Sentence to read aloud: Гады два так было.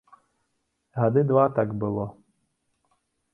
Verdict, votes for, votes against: accepted, 2, 0